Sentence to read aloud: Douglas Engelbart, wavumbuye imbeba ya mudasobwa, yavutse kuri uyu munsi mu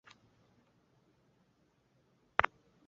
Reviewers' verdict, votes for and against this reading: rejected, 0, 2